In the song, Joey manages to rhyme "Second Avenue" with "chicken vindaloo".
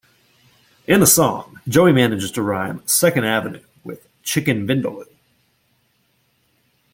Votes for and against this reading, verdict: 2, 0, accepted